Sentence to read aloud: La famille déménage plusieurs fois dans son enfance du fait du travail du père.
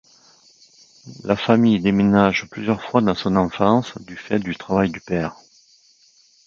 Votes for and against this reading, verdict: 2, 0, accepted